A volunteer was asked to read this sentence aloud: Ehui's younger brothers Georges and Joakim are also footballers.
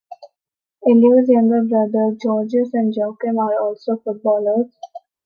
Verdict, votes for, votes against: rejected, 0, 2